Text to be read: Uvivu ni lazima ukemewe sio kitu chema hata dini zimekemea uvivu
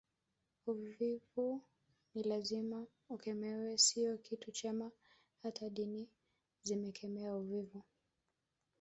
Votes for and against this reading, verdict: 0, 2, rejected